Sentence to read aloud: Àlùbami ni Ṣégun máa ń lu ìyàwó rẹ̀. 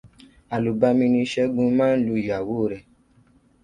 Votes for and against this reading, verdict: 2, 0, accepted